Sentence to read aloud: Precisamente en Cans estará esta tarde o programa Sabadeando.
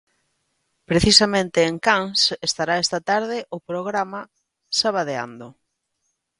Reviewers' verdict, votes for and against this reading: accepted, 2, 0